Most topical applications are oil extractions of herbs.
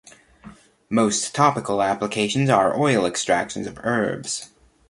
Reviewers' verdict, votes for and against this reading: accepted, 2, 0